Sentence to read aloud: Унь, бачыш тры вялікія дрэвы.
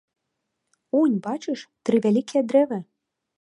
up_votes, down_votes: 2, 0